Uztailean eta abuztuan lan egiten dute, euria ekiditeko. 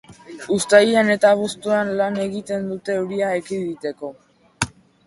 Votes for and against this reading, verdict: 3, 0, accepted